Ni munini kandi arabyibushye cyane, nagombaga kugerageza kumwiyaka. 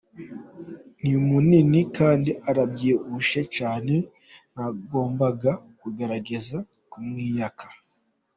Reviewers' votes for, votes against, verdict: 2, 0, accepted